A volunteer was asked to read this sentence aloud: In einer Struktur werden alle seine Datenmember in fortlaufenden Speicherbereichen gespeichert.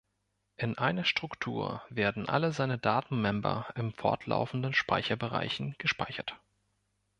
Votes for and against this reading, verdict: 1, 2, rejected